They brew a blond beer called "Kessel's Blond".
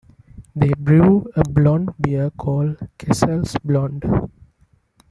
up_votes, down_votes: 2, 1